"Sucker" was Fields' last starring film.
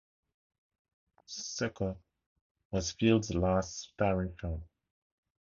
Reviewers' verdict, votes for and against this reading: accepted, 2, 0